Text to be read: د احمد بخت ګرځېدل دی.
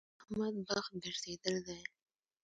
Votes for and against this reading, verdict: 0, 2, rejected